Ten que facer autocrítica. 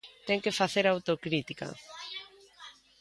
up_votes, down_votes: 2, 0